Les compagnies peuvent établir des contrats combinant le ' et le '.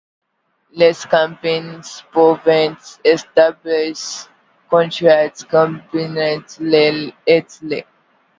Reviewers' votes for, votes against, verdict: 0, 2, rejected